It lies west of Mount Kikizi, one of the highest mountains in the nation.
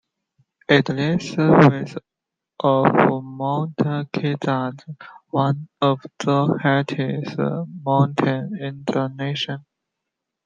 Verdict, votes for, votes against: rejected, 1, 2